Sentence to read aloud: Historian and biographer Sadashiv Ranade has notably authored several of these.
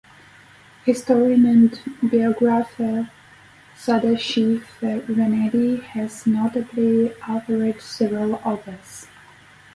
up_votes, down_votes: 2, 4